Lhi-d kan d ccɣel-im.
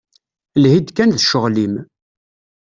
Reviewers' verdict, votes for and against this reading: accepted, 2, 0